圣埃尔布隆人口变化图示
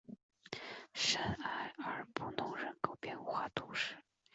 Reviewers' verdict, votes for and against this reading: accepted, 3, 1